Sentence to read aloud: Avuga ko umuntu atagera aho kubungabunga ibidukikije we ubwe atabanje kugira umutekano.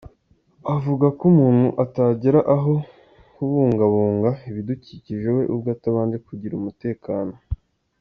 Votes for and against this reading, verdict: 2, 0, accepted